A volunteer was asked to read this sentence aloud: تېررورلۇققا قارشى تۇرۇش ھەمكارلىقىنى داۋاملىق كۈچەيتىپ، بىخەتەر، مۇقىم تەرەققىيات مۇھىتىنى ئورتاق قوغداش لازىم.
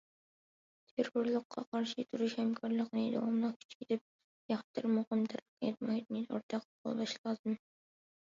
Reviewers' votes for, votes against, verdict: 0, 2, rejected